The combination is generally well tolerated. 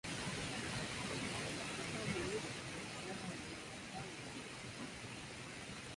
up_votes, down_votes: 0, 2